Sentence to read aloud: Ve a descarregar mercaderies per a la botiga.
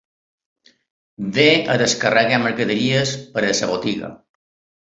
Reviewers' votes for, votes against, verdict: 1, 2, rejected